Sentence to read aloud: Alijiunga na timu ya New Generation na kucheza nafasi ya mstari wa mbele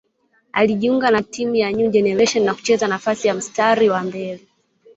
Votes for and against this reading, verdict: 4, 0, accepted